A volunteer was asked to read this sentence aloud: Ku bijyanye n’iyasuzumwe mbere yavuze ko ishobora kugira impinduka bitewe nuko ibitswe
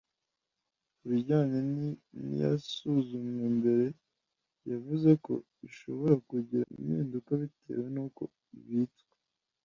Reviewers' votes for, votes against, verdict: 2, 1, accepted